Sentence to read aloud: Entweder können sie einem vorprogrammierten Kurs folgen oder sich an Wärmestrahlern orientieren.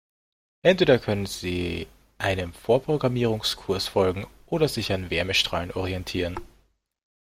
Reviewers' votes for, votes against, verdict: 0, 2, rejected